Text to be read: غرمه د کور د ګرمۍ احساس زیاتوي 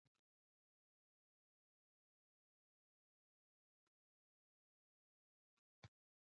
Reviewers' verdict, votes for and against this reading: rejected, 1, 2